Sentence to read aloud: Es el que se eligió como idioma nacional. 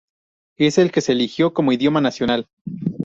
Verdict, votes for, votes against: accepted, 4, 0